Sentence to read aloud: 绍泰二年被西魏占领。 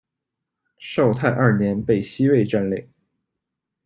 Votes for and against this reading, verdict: 2, 0, accepted